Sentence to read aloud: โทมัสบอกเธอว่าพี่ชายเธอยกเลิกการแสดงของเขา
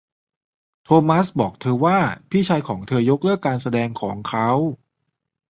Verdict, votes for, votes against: rejected, 0, 2